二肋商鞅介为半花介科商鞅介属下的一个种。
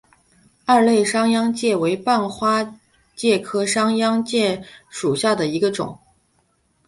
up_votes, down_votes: 4, 0